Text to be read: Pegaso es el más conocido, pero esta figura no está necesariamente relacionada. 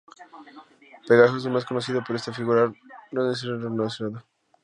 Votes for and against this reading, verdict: 0, 2, rejected